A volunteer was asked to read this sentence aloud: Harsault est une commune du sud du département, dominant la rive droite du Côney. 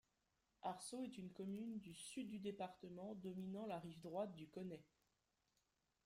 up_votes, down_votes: 3, 0